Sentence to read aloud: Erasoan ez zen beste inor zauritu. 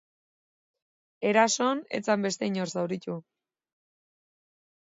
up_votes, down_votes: 2, 0